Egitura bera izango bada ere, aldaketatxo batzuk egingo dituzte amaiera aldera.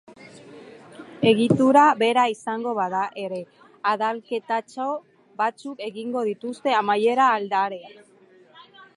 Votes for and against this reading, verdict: 2, 4, rejected